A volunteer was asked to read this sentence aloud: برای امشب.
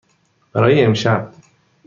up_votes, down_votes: 2, 0